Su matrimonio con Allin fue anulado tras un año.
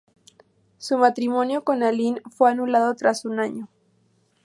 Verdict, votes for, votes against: accepted, 4, 0